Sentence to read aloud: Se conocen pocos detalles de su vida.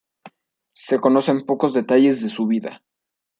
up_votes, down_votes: 2, 0